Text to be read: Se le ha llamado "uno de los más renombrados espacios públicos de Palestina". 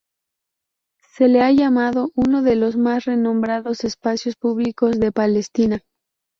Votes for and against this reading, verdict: 2, 0, accepted